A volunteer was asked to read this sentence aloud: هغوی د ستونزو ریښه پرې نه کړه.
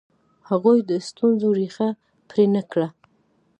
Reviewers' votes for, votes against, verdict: 2, 0, accepted